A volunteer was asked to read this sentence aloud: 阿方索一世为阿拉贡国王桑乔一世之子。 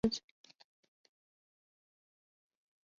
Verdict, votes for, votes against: rejected, 0, 2